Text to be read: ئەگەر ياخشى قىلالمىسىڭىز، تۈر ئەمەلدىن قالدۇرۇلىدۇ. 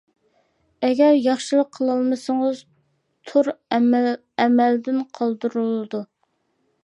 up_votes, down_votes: 1, 2